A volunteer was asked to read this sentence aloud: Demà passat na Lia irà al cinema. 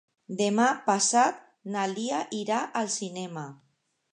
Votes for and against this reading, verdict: 2, 0, accepted